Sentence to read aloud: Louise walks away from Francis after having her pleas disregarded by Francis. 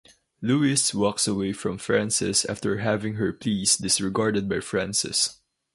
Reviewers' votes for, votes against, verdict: 2, 2, rejected